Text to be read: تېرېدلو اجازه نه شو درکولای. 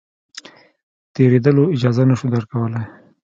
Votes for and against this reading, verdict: 1, 2, rejected